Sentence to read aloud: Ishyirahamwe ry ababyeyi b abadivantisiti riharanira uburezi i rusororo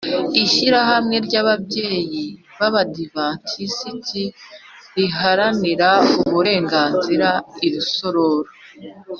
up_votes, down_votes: 0, 2